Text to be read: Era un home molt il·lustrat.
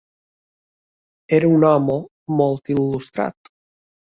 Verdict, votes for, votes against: accepted, 3, 0